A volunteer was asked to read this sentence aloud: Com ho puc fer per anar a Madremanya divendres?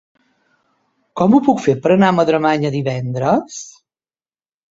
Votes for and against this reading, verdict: 3, 0, accepted